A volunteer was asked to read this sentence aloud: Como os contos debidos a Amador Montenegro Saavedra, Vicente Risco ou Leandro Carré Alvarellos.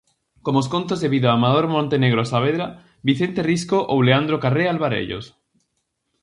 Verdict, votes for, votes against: rejected, 0, 4